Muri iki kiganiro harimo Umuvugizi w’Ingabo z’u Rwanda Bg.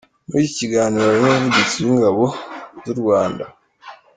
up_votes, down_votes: 2, 0